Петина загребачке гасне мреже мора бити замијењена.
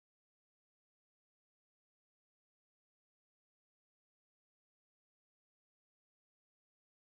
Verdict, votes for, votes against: rejected, 0, 2